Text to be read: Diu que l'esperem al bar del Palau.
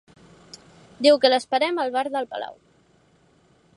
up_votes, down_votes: 4, 0